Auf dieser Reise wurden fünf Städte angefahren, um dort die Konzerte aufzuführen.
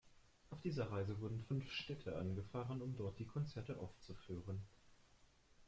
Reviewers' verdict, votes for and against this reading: accepted, 2, 0